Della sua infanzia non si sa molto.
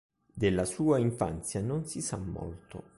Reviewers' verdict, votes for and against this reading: accepted, 2, 1